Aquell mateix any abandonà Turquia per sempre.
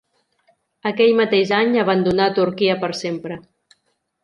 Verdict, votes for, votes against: accepted, 3, 0